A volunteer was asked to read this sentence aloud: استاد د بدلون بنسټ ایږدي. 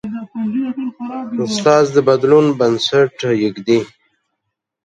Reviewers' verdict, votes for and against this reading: rejected, 0, 2